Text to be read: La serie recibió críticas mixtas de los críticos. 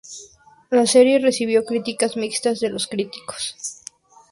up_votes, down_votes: 2, 0